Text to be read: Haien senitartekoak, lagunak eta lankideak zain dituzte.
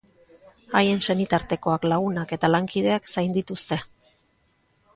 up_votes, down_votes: 1, 2